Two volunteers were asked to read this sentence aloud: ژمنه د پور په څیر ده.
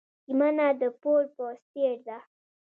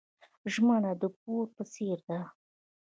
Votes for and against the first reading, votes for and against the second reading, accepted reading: 1, 2, 2, 0, second